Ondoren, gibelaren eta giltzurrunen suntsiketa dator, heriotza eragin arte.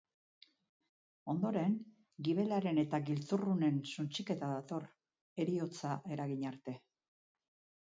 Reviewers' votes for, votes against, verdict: 3, 0, accepted